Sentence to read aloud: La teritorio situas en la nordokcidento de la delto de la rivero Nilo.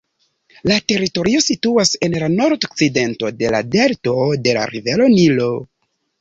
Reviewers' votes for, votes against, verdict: 1, 2, rejected